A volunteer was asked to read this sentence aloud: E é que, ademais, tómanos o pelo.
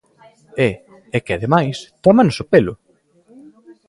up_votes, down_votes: 2, 0